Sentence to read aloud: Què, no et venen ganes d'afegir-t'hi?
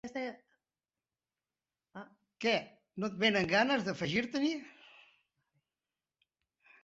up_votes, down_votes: 1, 2